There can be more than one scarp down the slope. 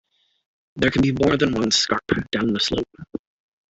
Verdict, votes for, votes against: accepted, 2, 1